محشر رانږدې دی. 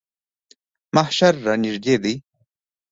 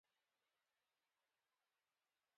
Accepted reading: first